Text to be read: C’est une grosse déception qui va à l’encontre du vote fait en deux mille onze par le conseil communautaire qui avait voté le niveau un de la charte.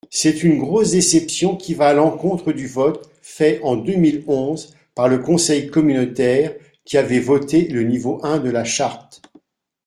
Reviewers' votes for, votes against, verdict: 2, 0, accepted